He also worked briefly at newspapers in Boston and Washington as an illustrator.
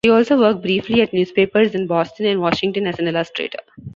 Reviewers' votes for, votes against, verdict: 2, 0, accepted